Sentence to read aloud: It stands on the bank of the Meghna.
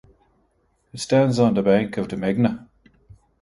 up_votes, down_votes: 2, 0